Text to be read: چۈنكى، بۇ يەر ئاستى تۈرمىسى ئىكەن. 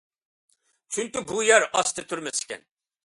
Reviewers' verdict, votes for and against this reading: accepted, 2, 0